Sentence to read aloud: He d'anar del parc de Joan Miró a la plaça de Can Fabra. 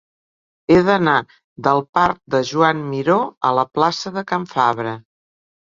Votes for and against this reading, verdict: 3, 0, accepted